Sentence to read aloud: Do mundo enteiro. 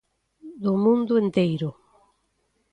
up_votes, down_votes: 2, 0